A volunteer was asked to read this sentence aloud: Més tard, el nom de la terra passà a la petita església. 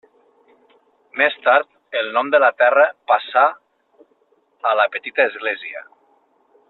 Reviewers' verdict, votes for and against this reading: accepted, 3, 0